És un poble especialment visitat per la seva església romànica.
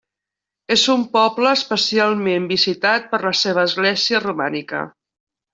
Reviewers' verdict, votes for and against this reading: rejected, 0, 2